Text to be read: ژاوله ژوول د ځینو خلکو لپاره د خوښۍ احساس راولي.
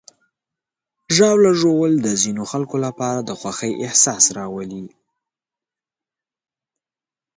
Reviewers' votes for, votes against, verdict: 2, 0, accepted